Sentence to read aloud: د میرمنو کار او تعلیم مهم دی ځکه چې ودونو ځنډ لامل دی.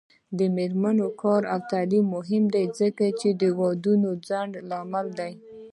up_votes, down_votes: 0, 2